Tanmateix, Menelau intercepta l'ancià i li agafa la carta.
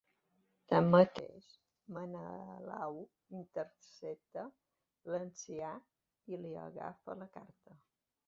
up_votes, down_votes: 2, 1